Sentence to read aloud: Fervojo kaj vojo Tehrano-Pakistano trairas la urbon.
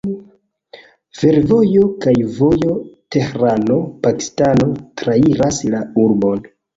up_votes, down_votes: 1, 2